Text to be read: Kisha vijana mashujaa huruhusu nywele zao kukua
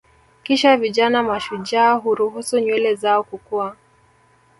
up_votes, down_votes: 2, 0